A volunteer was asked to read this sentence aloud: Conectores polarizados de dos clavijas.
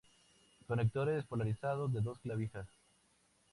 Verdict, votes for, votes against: accepted, 4, 0